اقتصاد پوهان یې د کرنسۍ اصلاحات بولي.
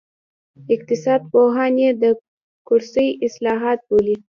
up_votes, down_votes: 0, 2